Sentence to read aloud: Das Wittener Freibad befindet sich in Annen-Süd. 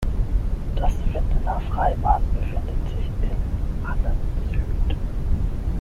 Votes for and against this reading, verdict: 3, 6, rejected